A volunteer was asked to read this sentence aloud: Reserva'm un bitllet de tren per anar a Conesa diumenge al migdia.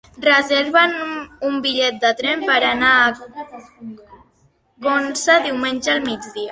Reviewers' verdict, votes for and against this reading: rejected, 1, 2